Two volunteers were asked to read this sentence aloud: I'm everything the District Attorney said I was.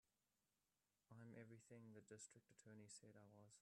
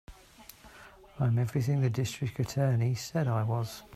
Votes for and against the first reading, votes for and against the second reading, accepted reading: 0, 2, 2, 0, second